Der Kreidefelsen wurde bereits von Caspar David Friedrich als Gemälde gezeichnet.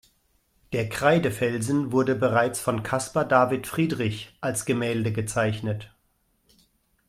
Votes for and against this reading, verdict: 2, 0, accepted